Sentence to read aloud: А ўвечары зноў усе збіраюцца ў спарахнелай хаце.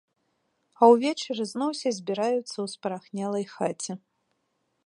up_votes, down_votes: 1, 2